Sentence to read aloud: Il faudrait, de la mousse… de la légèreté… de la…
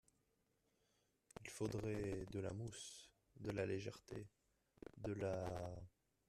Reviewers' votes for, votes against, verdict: 2, 0, accepted